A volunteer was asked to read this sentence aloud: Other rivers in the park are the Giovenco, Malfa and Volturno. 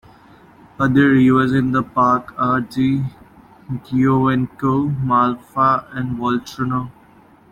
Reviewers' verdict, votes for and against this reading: accepted, 2, 1